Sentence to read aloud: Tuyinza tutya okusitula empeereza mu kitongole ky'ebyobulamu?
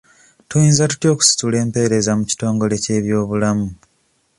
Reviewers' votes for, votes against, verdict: 2, 0, accepted